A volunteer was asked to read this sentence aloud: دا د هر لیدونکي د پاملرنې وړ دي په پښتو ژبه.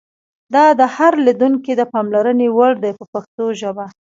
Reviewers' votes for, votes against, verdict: 2, 0, accepted